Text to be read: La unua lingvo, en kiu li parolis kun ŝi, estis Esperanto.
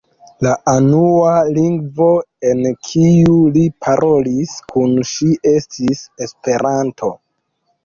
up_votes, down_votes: 2, 3